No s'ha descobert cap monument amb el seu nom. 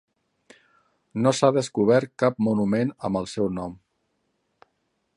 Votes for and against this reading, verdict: 3, 0, accepted